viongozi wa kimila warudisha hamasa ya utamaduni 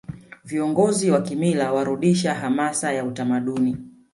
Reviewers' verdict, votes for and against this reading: rejected, 0, 2